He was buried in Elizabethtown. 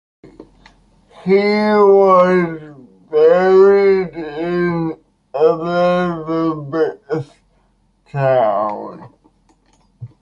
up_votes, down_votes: 2, 0